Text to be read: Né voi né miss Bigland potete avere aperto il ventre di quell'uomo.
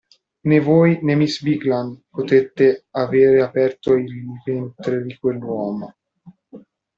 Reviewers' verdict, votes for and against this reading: rejected, 0, 2